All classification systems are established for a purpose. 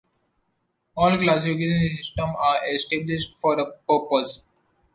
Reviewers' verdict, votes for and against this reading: rejected, 0, 2